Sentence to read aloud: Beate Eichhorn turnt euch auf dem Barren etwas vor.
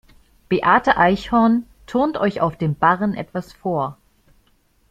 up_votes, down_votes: 3, 0